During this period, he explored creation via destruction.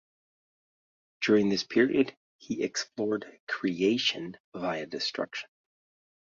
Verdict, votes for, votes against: accepted, 2, 0